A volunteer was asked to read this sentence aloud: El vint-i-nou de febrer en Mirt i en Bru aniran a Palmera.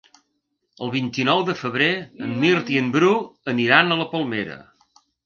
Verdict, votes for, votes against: rejected, 1, 2